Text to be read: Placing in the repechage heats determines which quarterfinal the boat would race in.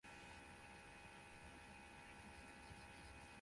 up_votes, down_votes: 0, 4